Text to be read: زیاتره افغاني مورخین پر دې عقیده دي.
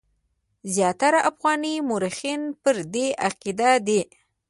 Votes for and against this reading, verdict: 0, 2, rejected